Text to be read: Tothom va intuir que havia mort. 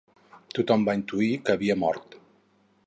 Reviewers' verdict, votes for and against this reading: accepted, 4, 0